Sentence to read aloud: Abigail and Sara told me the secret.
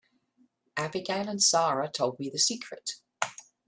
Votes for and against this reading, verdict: 2, 0, accepted